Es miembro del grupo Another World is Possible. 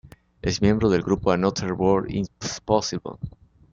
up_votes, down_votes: 1, 2